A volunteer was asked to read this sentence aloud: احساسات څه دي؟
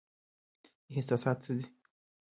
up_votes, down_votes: 2, 0